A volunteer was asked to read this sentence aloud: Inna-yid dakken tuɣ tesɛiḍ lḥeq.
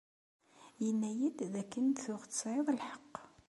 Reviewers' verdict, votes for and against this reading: accepted, 2, 0